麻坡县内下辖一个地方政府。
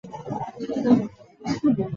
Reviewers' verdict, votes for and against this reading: rejected, 0, 2